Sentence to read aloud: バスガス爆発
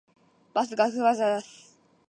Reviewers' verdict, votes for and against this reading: rejected, 4, 4